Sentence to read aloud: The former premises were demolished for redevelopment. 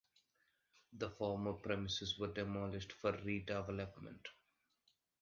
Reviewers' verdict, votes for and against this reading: accepted, 2, 1